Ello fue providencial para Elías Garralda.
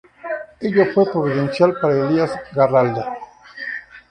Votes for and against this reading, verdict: 2, 0, accepted